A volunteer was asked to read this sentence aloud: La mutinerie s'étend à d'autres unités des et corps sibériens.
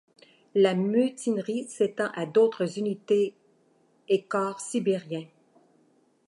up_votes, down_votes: 0, 2